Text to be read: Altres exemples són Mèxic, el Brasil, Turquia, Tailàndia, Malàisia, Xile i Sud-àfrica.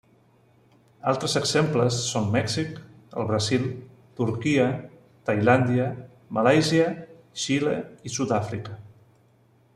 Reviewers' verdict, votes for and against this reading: rejected, 1, 2